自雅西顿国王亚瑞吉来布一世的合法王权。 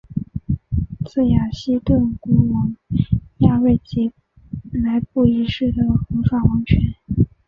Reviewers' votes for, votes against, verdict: 1, 4, rejected